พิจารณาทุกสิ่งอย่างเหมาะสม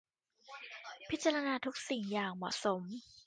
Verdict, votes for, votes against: accepted, 2, 1